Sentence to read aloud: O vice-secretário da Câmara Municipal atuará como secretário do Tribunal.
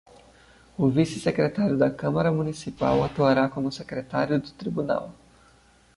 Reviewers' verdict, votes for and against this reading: accepted, 2, 0